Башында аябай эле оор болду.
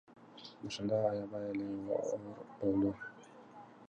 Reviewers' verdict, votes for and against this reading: accepted, 2, 0